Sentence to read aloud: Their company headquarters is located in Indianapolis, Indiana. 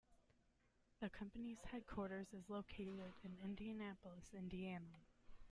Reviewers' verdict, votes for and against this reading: rejected, 1, 2